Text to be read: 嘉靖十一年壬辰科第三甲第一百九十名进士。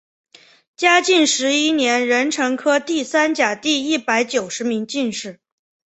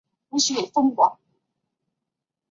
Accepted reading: first